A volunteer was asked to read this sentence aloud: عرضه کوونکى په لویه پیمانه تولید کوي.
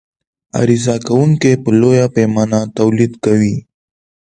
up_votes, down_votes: 2, 0